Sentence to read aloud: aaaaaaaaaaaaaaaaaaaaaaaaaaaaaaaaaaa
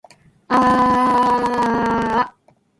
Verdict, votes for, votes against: rejected, 0, 2